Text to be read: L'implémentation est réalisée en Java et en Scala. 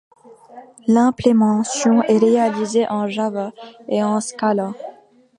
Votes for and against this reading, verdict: 0, 2, rejected